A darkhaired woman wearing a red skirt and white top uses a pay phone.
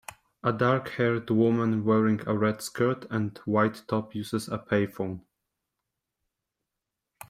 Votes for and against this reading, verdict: 3, 1, accepted